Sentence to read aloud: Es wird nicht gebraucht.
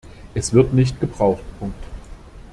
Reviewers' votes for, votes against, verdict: 0, 2, rejected